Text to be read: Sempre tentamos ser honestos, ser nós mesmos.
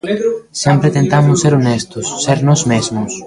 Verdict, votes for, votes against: rejected, 0, 2